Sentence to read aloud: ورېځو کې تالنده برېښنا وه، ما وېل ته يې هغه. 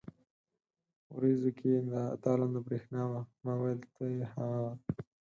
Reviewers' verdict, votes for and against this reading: accepted, 4, 0